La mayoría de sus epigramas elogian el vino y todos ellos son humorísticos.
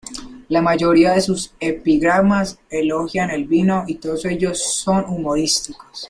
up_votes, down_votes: 2, 0